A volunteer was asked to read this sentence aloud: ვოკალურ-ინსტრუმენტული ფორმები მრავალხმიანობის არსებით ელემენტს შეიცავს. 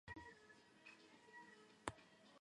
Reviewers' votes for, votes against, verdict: 0, 2, rejected